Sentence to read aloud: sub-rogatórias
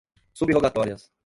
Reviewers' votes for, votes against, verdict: 0, 2, rejected